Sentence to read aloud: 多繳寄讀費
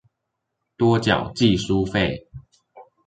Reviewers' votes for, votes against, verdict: 1, 2, rejected